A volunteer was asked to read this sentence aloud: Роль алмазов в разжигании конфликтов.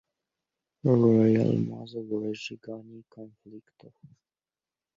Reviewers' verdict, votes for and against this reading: rejected, 1, 2